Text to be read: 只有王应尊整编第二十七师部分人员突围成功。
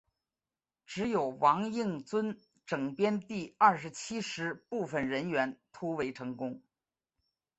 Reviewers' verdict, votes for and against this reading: accepted, 7, 1